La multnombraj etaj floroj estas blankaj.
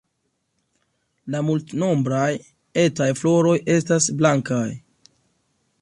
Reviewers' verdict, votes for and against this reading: accepted, 2, 0